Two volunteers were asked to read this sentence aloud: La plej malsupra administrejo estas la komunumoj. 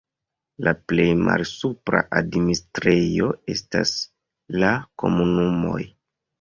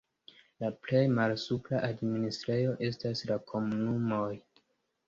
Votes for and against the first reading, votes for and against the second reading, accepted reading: 0, 2, 2, 0, second